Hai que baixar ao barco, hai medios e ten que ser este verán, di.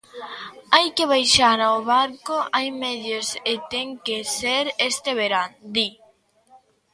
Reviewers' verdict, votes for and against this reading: accepted, 2, 0